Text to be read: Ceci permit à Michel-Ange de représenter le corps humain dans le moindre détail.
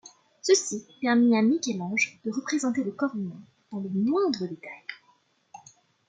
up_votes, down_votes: 2, 0